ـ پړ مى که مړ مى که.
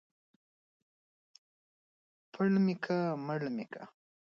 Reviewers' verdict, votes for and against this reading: rejected, 1, 2